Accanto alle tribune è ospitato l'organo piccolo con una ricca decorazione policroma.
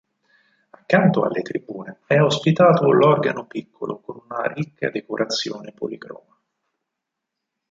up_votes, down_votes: 2, 4